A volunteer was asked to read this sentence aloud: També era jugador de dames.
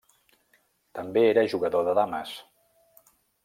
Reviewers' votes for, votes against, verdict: 3, 0, accepted